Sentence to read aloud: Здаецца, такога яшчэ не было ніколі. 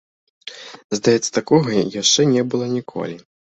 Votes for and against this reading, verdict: 0, 2, rejected